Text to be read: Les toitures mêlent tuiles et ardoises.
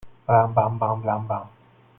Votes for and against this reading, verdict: 0, 2, rejected